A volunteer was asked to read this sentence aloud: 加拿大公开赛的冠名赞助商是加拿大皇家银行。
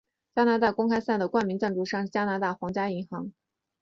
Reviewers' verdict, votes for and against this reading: accepted, 2, 1